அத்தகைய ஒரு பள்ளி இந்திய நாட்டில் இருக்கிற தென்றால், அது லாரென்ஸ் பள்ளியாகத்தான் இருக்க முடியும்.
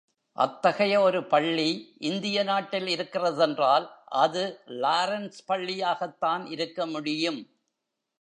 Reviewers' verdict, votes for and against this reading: accepted, 2, 0